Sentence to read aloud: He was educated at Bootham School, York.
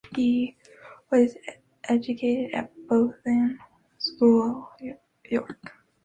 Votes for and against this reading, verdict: 0, 2, rejected